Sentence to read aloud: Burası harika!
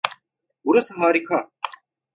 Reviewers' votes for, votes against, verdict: 2, 0, accepted